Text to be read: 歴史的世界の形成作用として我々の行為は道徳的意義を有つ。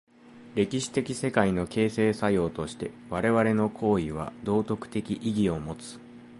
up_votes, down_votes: 2, 0